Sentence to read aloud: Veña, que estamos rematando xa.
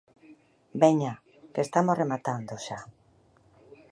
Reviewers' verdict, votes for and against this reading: accepted, 2, 0